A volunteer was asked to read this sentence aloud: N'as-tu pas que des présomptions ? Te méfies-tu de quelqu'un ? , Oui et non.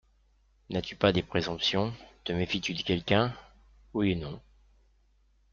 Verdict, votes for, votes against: rejected, 0, 2